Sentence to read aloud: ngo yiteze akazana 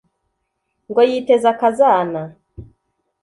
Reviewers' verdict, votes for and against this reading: accepted, 2, 0